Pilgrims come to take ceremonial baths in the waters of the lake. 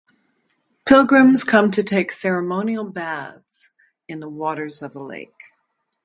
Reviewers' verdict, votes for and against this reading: rejected, 0, 2